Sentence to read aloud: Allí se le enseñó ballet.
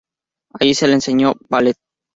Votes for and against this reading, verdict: 0, 2, rejected